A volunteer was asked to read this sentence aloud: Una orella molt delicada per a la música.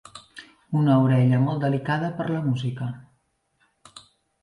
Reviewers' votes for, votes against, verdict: 0, 2, rejected